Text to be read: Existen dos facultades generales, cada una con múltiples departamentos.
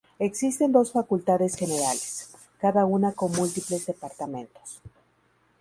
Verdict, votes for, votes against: rejected, 0, 2